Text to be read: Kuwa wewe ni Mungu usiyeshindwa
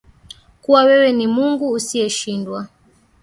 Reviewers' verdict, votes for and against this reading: accepted, 2, 1